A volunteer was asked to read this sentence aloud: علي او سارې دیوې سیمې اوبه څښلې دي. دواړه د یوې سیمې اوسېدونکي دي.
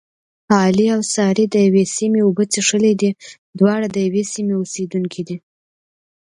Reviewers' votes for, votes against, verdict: 2, 0, accepted